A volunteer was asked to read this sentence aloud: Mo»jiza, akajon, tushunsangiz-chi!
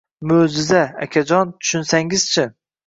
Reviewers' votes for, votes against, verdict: 2, 1, accepted